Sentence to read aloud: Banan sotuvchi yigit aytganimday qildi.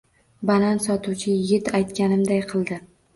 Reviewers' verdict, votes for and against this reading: accepted, 2, 0